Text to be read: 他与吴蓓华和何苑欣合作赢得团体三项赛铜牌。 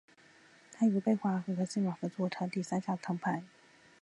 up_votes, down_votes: 3, 0